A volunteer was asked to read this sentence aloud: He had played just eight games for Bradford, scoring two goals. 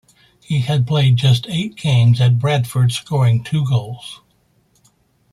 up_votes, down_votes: 0, 2